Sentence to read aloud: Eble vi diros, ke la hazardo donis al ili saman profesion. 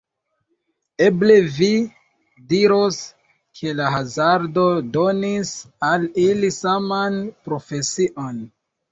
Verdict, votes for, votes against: rejected, 0, 2